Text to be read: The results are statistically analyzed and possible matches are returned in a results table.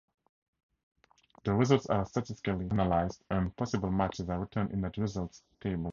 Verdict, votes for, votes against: accepted, 4, 2